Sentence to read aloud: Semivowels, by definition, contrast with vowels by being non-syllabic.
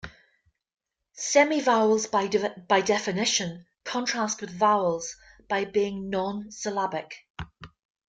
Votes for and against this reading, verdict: 2, 0, accepted